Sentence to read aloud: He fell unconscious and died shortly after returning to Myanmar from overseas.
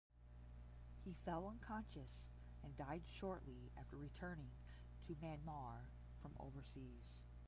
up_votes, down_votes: 5, 5